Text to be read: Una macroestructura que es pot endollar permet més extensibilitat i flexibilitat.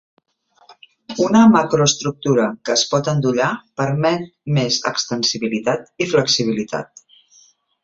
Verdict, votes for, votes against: accepted, 2, 0